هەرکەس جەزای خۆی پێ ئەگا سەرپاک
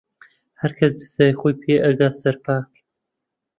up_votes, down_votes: 2, 0